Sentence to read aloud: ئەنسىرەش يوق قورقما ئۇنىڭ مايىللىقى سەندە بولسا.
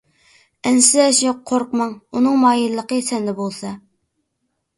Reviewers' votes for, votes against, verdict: 1, 2, rejected